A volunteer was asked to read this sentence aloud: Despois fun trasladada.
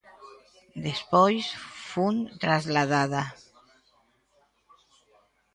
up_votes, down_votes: 0, 2